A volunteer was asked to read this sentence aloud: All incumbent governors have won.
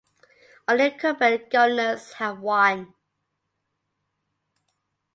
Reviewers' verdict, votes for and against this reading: accepted, 2, 1